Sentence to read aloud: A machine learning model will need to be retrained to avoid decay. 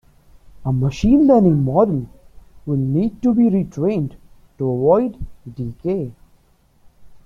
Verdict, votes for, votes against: rejected, 1, 2